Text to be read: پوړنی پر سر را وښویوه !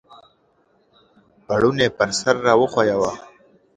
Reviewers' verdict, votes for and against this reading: accepted, 2, 0